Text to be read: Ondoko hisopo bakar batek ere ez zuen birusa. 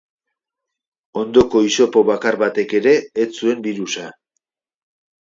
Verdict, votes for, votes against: accepted, 2, 0